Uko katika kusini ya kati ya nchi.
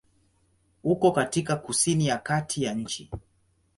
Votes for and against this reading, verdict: 2, 0, accepted